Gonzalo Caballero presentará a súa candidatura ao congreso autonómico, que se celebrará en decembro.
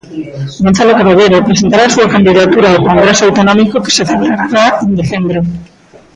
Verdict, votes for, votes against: rejected, 1, 2